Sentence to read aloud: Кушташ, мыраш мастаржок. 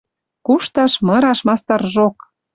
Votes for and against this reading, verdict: 2, 0, accepted